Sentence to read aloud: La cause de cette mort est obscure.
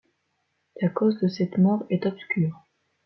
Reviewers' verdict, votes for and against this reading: accepted, 2, 0